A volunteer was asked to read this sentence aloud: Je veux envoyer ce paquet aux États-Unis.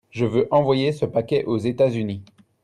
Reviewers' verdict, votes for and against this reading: accepted, 2, 0